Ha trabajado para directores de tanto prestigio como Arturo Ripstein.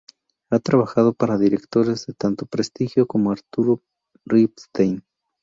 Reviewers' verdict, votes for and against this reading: accepted, 2, 0